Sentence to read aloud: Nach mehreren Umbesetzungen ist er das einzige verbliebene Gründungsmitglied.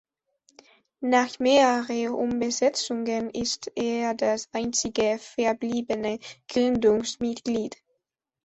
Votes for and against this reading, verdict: 2, 0, accepted